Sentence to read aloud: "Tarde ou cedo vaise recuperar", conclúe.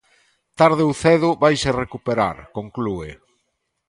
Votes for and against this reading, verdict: 2, 0, accepted